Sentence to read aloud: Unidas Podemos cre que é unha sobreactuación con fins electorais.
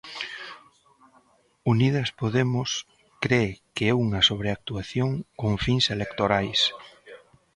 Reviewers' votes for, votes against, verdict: 2, 0, accepted